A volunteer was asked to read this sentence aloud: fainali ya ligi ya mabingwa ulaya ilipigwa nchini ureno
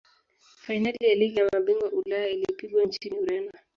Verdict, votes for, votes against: rejected, 1, 2